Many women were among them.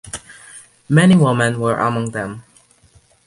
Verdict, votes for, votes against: rejected, 1, 2